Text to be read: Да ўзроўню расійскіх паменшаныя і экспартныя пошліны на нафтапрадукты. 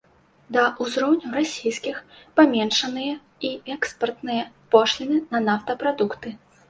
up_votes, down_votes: 2, 0